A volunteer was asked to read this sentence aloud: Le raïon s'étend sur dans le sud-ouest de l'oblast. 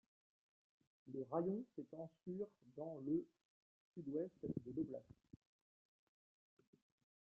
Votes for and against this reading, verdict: 0, 3, rejected